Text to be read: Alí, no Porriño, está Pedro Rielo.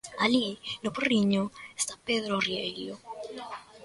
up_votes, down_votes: 1, 2